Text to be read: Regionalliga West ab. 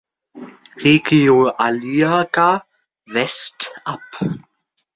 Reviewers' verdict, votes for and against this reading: rejected, 0, 2